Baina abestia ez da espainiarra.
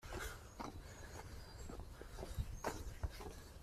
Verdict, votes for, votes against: rejected, 1, 2